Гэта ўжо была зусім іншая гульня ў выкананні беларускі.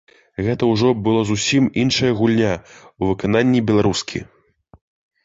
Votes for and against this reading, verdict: 3, 0, accepted